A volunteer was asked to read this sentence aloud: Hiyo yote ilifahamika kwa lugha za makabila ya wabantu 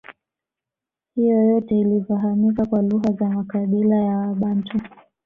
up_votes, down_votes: 2, 1